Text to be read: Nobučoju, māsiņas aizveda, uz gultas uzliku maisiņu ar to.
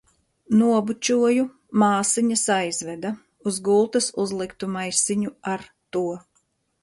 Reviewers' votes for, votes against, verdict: 0, 2, rejected